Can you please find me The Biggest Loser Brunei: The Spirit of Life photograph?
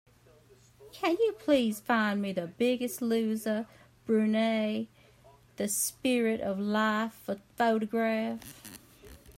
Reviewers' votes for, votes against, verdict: 1, 2, rejected